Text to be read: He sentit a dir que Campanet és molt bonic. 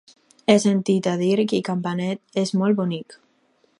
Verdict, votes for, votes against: accepted, 4, 0